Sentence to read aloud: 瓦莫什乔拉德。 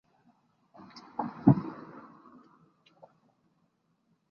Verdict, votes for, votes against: accepted, 2, 1